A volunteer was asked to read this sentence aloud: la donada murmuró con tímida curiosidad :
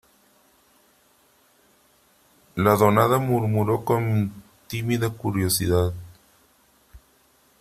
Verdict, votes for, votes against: accepted, 4, 2